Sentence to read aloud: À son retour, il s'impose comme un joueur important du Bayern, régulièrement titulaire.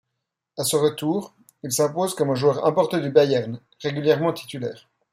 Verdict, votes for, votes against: accepted, 2, 0